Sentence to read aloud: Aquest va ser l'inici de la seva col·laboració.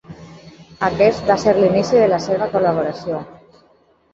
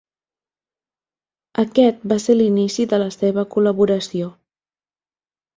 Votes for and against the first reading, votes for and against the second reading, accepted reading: 0, 4, 4, 0, second